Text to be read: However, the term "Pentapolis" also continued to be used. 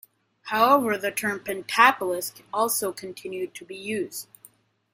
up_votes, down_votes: 2, 0